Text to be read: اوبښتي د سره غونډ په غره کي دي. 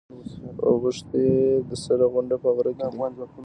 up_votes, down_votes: 1, 2